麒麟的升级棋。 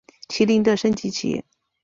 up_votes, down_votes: 2, 0